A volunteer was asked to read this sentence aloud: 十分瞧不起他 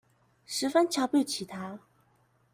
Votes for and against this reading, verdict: 1, 2, rejected